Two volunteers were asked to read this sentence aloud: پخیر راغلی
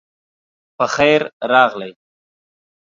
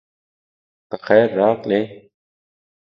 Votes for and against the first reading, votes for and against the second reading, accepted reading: 2, 0, 1, 2, first